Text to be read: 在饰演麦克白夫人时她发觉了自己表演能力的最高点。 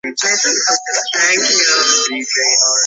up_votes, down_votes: 0, 3